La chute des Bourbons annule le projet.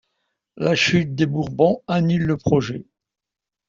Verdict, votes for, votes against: accepted, 2, 0